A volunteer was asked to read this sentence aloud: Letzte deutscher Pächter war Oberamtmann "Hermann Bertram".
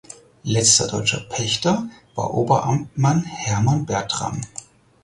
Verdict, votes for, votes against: rejected, 2, 4